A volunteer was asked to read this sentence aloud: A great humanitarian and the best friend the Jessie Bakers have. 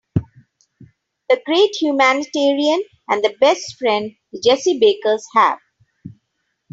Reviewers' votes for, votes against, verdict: 2, 0, accepted